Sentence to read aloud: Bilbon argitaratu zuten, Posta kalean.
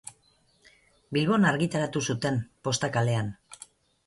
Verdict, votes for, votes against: accepted, 4, 0